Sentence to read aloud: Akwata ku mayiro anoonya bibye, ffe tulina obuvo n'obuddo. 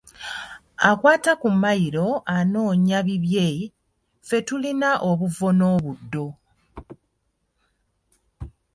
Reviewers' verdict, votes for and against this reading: rejected, 1, 2